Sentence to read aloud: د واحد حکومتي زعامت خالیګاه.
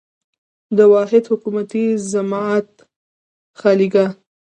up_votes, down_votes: 2, 0